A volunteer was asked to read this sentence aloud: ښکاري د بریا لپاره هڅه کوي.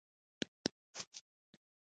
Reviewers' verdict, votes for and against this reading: accepted, 2, 1